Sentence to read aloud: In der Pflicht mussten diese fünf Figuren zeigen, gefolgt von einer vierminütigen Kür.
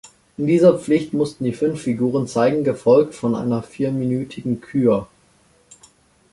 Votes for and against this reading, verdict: 1, 2, rejected